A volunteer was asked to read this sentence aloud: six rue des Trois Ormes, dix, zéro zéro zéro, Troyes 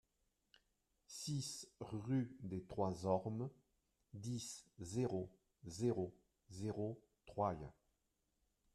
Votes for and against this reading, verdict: 0, 2, rejected